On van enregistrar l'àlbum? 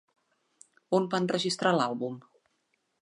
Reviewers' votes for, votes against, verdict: 2, 0, accepted